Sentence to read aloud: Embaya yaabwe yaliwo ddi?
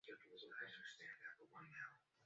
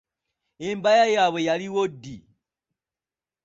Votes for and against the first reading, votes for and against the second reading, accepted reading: 0, 2, 3, 0, second